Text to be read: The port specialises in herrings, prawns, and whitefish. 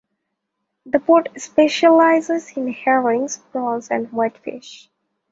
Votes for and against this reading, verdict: 2, 0, accepted